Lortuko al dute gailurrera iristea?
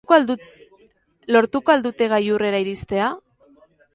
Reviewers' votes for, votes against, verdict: 0, 2, rejected